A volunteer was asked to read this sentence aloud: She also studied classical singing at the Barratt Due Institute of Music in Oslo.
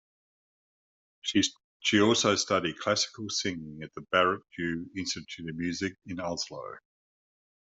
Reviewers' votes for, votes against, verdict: 1, 2, rejected